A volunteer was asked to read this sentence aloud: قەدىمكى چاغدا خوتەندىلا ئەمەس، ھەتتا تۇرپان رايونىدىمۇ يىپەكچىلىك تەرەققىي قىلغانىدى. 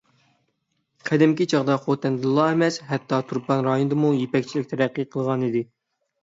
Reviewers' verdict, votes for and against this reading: accepted, 6, 0